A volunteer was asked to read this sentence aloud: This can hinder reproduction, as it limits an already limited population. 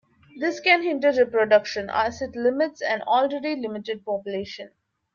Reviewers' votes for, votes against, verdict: 2, 1, accepted